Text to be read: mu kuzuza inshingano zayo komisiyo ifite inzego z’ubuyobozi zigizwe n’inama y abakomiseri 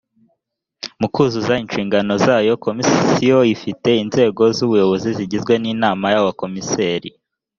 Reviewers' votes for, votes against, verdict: 3, 0, accepted